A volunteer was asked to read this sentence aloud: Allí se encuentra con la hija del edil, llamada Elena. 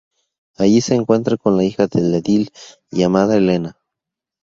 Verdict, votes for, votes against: accepted, 4, 0